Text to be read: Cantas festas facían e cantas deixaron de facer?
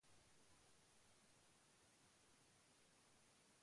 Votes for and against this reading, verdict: 0, 2, rejected